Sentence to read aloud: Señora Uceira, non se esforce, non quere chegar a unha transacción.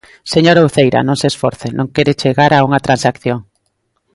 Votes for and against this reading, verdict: 2, 0, accepted